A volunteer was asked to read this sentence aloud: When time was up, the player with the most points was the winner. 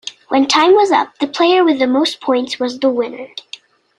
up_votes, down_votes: 2, 0